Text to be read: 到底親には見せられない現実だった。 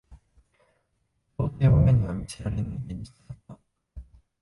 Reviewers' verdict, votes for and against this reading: rejected, 1, 2